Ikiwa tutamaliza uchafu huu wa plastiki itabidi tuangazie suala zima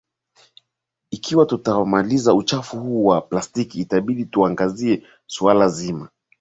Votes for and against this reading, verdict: 2, 1, accepted